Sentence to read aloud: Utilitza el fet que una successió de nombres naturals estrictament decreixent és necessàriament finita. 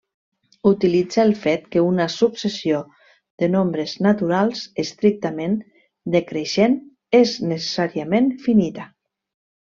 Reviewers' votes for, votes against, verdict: 0, 2, rejected